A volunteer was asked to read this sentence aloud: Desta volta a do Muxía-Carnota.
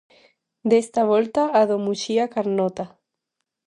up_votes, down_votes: 2, 0